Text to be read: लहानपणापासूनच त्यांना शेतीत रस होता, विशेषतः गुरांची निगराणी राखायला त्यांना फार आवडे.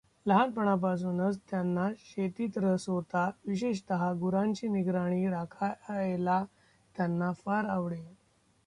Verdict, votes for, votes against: rejected, 1, 2